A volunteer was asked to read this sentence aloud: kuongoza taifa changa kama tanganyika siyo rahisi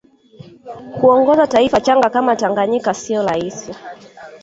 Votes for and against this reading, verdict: 1, 2, rejected